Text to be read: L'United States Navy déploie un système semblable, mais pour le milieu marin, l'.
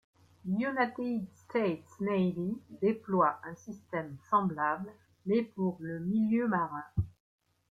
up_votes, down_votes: 0, 2